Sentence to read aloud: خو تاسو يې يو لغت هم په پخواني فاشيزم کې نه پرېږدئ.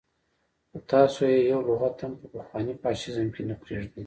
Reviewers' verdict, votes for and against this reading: accepted, 2, 1